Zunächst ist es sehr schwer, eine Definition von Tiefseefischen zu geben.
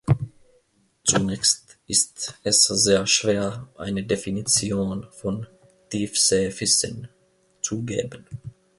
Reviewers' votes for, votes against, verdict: 0, 2, rejected